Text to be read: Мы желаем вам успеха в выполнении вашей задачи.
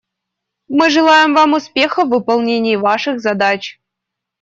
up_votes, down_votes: 0, 2